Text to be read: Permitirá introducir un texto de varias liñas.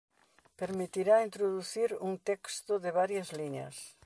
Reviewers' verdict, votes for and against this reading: rejected, 1, 2